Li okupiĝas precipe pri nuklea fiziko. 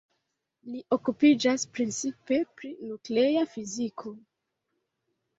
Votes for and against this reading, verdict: 3, 2, accepted